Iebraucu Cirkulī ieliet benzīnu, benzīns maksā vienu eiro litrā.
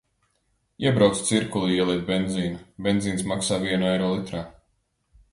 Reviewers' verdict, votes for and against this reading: accepted, 2, 0